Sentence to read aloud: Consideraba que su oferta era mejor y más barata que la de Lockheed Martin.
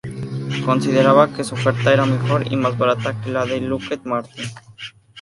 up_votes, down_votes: 2, 0